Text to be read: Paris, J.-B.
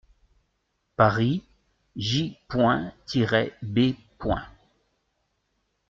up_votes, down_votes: 1, 2